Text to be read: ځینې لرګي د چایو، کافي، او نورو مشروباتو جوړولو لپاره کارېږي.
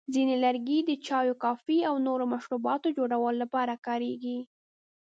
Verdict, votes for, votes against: accepted, 2, 0